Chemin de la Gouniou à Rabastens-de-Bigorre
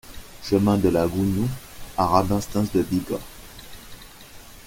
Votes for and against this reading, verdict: 2, 1, accepted